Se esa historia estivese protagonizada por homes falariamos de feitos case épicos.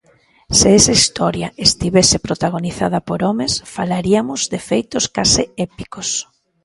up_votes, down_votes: 1, 2